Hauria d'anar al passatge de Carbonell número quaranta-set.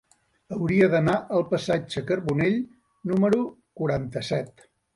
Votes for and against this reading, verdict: 0, 2, rejected